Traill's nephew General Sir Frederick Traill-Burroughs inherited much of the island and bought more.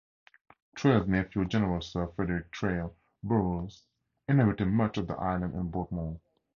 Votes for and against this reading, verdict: 0, 2, rejected